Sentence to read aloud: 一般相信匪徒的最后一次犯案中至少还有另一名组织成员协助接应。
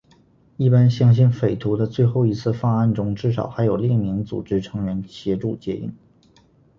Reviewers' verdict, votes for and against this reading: accepted, 2, 0